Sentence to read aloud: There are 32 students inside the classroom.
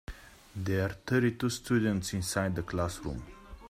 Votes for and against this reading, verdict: 0, 2, rejected